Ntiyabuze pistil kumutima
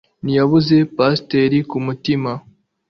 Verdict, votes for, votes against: rejected, 1, 2